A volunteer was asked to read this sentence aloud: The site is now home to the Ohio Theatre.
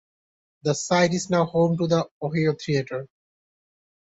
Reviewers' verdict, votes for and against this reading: accepted, 2, 1